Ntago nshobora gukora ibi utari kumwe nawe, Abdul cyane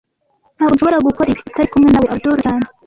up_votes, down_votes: 1, 2